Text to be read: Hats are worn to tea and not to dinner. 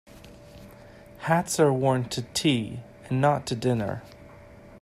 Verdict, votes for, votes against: accepted, 2, 0